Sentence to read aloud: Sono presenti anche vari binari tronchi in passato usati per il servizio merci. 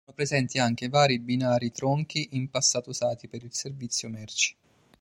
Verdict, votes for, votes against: rejected, 0, 2